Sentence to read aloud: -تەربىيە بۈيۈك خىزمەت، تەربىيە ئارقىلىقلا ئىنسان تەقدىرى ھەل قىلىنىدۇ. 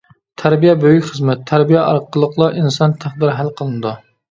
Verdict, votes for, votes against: accepted, 2, 0